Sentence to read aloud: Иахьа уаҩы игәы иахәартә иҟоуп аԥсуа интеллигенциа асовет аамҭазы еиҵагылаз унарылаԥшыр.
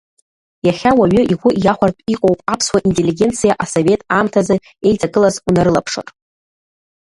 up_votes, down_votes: 1, 2